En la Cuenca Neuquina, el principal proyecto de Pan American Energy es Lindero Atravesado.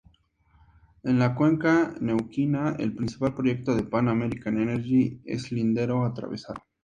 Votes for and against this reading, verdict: 2, 0, accepted